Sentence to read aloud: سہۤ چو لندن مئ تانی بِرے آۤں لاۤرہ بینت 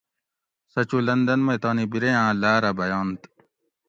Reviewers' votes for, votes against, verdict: 2, 0, accepted